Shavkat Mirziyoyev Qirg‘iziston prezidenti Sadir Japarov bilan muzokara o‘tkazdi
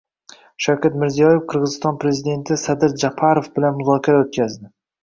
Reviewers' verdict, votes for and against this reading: accepted, 2, 0